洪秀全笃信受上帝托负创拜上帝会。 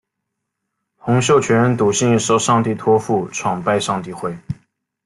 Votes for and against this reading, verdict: 2, 0, accepted